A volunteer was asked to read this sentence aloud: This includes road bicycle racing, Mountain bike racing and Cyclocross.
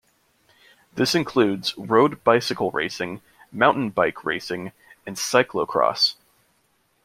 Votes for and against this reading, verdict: 2, 0, accepted